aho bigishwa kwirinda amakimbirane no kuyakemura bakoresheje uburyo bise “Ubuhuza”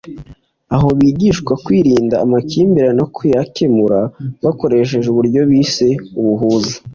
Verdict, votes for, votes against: accepted, 2, 0